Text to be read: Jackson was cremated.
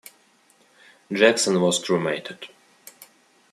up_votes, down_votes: 2, 0